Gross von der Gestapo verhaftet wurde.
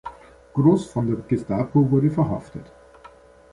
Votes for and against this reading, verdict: 0, 3, rejected